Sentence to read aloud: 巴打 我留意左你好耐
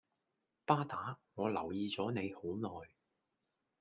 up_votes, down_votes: 2, 0